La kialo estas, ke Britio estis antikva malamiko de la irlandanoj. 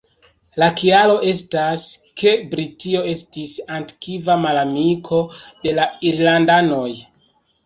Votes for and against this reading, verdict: 0, 2, rejected